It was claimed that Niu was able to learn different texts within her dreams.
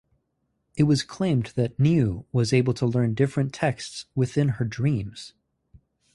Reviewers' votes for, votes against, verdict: 2, 0, accepted